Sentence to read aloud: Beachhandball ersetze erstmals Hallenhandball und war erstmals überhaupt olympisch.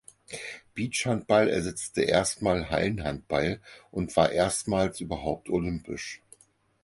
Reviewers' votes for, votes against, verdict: 2, 4, rejected